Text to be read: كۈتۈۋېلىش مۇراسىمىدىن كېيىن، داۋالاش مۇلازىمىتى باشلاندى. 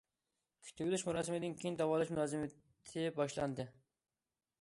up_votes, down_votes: 1, 2